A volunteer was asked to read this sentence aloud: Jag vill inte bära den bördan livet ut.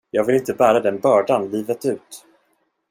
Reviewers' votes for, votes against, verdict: 1, 2, rejected